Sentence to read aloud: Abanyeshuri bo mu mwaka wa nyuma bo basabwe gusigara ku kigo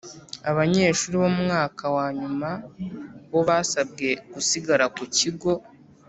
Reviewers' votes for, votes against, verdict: 2, 0, accepted